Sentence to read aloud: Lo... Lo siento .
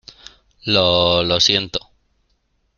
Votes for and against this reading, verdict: 2, 0, accepted